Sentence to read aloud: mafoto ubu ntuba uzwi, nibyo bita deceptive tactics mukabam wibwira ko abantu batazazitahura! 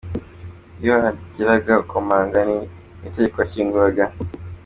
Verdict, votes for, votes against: rejected, 0, 2